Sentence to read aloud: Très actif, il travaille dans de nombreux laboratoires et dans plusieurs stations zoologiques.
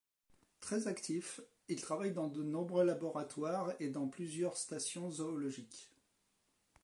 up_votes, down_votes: 2, 0